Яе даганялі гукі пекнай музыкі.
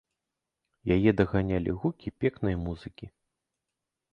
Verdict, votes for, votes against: accepted, 2, 0